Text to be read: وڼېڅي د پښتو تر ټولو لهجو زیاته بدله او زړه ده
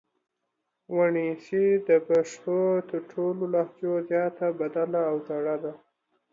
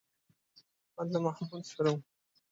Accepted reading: first